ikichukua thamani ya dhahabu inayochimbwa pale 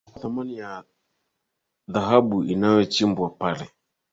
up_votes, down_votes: 6, 7